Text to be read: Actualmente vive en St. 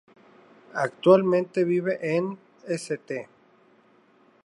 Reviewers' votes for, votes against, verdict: 2, 0, accepted